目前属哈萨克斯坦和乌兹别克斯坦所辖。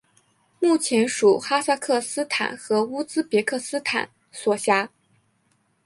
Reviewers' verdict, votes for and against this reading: accepted, 2, 0